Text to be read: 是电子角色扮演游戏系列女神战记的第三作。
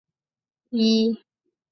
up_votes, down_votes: 0, 2